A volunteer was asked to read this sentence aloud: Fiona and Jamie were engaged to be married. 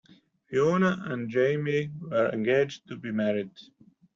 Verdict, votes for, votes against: accepted, 2, 0